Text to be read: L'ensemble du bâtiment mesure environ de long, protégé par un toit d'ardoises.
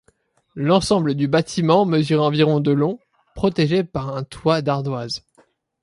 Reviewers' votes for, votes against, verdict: 2, 0, accepted